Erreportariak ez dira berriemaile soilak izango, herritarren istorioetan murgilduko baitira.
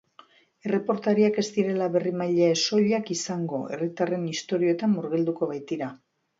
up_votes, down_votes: 1, 2